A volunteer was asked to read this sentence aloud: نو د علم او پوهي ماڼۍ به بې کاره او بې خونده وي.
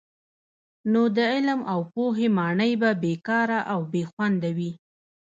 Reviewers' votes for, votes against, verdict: 1, 2, rejected